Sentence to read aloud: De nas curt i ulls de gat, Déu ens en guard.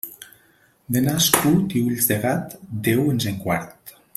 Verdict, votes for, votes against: accepted, 2, 0